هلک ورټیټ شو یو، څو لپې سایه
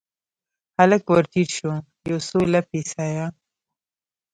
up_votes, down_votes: 1, 2